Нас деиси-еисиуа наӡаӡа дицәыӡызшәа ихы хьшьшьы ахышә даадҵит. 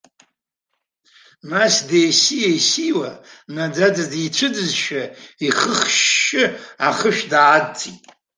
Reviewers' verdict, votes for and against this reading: rejected, 0, 2